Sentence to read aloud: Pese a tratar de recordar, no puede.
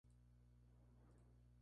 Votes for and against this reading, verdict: 0, 2, rejected